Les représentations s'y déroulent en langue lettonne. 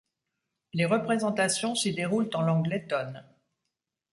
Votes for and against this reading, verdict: 2, 0, accepted